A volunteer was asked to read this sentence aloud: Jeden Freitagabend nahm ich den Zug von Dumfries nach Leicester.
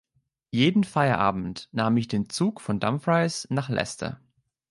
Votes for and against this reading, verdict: 0, 2, rejected